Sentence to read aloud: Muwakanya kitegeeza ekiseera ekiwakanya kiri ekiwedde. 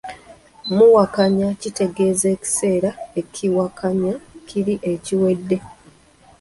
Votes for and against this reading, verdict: 1, 2, rejected